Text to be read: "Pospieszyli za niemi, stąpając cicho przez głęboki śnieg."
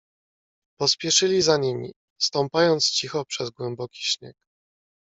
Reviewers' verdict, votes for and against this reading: rejected, 1, 2